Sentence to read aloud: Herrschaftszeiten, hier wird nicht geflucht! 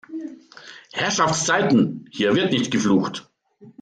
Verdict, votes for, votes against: accepted, 2, 0